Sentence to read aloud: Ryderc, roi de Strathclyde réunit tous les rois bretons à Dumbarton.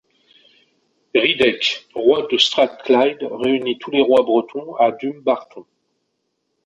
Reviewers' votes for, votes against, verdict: 0, 2, rejected